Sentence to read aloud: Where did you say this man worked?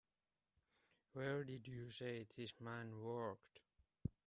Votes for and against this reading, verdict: 0, 2, rejected